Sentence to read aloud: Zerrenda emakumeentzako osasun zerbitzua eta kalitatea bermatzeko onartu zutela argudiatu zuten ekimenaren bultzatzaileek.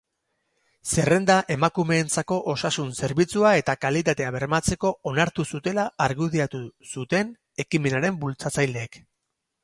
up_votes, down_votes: 6, 0